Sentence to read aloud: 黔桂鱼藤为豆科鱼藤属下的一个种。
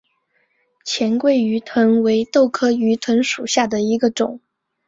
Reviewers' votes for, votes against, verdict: 3, 1, accepted